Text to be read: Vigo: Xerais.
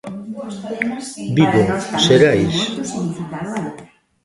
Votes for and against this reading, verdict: 0, 2, rejected